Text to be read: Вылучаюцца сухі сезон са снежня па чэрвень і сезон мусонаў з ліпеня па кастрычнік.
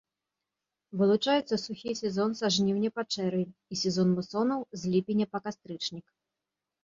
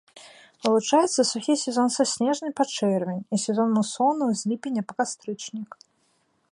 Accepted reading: second